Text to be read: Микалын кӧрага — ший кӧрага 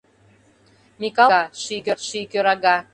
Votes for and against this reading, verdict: 0, 2, rejected